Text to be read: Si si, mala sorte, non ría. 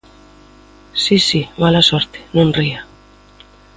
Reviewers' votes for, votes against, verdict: 2, 0, accepted